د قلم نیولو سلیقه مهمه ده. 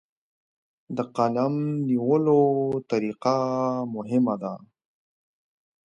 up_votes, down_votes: 0, 2